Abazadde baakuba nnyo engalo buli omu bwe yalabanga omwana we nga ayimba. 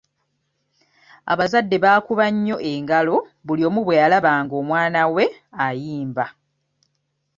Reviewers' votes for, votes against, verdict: 1, 2, rejected